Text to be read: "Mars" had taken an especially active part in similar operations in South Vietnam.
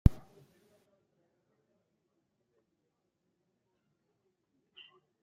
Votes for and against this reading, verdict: 0, 2, rejected